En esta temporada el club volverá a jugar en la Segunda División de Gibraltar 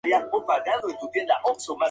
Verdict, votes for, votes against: rejected, 0, 2